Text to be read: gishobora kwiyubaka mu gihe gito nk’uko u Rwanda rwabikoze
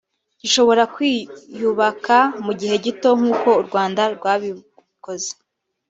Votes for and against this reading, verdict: 2, 0, accepted